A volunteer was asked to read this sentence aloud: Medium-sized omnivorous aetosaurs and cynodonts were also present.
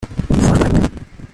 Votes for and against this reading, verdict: 0, 2, rejected